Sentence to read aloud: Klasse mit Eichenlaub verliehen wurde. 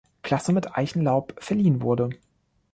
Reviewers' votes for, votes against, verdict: 2, 0, accepted